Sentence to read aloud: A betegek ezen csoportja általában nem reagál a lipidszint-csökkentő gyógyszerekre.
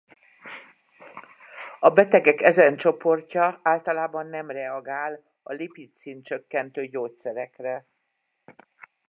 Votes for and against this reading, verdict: 0, 2, rejected